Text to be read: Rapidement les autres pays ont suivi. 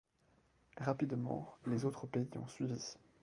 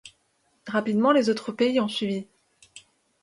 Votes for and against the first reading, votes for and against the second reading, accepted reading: 1, 2, 2, 0, second